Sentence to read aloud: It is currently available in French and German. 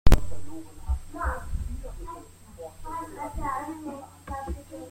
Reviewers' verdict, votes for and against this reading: rejected, 0, 2